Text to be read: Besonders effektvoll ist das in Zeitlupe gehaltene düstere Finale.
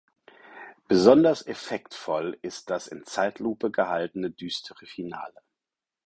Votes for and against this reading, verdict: 4, 0, accepted